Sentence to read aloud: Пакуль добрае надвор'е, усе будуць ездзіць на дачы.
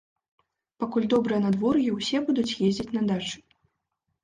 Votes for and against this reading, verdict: 2, 0, accepted